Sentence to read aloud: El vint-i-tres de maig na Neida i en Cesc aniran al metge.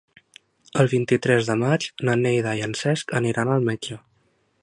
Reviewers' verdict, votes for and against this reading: accepted, 3, 0